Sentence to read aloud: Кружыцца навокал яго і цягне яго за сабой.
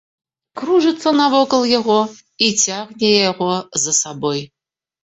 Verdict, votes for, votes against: accepted, 2, 0